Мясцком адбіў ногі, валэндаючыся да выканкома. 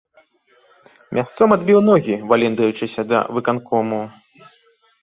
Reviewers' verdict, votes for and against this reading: rejected, 0, 2